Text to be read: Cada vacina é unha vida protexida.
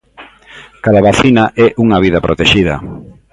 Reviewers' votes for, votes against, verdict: 2, 0, accepted